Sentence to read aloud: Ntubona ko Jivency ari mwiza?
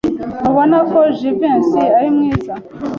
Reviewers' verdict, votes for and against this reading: accepted, 2, 0